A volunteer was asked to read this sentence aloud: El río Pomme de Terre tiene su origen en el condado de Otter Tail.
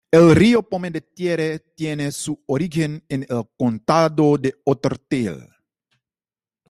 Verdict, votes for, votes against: rejected, 1, 2